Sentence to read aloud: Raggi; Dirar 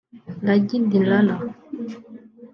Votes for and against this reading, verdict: 2, 1, accepted